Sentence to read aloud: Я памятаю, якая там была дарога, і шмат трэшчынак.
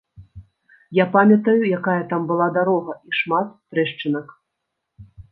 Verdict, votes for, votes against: accepted, 2, 0